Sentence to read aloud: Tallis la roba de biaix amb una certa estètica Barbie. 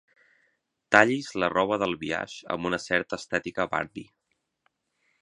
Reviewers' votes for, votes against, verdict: 3, 3, rejected